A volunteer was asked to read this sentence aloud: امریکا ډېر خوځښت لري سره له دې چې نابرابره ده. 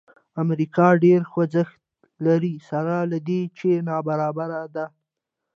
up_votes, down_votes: 2, 1